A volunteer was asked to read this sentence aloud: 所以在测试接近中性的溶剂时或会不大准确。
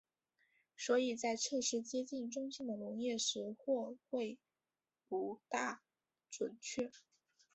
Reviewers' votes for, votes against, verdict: 0, 2, rejected